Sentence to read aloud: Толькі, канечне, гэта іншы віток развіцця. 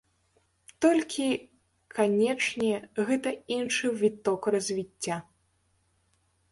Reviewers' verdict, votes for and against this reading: rejected, 1, 2